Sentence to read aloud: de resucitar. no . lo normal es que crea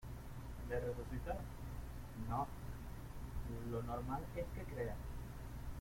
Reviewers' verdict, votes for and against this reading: rejected, 0, 2